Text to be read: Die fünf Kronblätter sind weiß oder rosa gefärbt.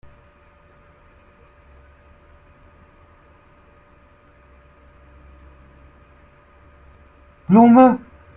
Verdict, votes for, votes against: rejected, 0, 2